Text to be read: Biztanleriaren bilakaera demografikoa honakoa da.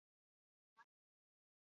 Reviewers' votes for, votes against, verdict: 0, 4, rejected